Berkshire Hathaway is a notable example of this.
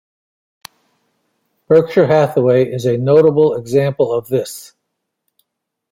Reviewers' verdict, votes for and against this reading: accepted, 2, 0